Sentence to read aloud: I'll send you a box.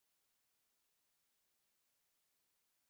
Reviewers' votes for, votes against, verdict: 0, 2, rejected